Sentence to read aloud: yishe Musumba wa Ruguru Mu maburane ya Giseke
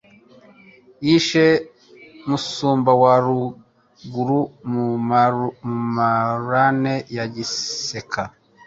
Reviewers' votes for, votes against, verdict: 0, 2, rejected